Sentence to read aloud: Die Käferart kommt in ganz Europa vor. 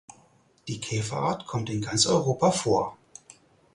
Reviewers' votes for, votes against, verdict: 4, 0, accepted